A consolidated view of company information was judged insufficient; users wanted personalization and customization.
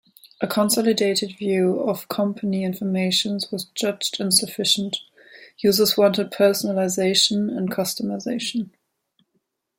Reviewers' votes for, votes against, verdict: 2, 0, accepted